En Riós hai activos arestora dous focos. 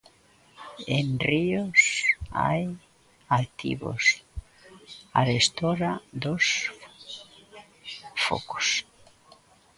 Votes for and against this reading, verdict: 0, 2, rejected